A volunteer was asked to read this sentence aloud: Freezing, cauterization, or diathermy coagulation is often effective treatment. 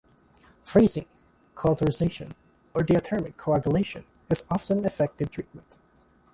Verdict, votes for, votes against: accepted, 2, 0